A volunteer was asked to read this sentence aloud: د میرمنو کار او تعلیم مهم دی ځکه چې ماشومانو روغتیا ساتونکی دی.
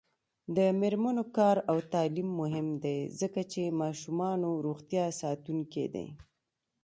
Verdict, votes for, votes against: rejected, 1, 2